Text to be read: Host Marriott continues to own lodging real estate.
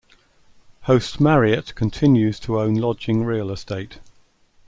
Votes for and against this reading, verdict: 2, 0, accepted